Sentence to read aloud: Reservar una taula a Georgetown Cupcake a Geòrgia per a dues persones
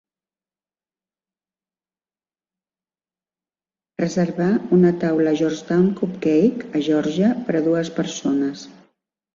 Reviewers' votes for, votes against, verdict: 4, 5, rejected